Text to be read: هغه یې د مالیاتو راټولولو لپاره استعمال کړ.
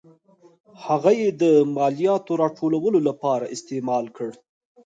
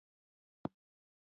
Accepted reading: first